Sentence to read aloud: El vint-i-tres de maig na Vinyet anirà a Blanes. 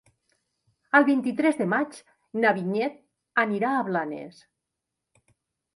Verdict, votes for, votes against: accepted, 3, 0